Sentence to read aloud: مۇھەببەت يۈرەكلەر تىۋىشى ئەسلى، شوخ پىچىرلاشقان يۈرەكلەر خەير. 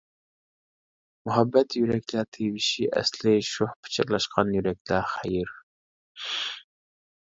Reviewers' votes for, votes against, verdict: 0, 2, rejected